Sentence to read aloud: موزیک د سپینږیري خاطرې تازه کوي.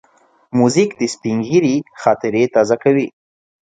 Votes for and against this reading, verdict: 2, 0, accepted